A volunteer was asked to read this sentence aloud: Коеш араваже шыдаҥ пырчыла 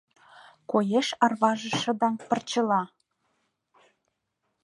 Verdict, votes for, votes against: rejected, 0, 2